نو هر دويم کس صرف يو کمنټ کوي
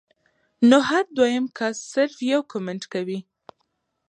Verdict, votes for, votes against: accepted, 2, 0